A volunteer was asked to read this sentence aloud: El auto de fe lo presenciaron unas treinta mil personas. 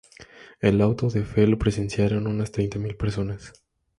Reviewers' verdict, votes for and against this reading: accepted, 2, 0